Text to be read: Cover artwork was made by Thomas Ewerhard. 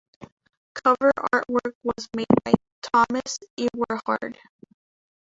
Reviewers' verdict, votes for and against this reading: rejected, 0, 2